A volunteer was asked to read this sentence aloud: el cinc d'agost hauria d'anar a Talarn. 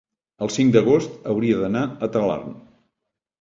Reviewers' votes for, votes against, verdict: 3, 0, accepted